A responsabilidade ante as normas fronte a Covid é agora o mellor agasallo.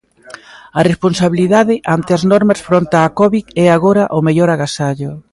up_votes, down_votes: 2, 0